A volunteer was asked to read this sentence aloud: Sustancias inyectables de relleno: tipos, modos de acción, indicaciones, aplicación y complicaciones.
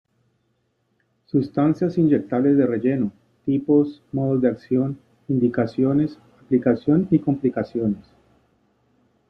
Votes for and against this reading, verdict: 2, 0, accepted